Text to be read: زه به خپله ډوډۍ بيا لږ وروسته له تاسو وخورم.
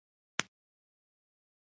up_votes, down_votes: 2, 1